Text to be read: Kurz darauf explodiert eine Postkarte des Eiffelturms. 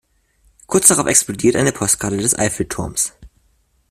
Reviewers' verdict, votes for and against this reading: accepted, 2, 0